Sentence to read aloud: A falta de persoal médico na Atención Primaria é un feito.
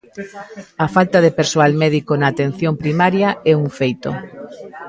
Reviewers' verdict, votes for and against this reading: rejected, 0, 2